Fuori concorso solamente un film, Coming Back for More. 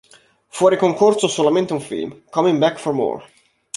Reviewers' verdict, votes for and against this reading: accepted, 2, 0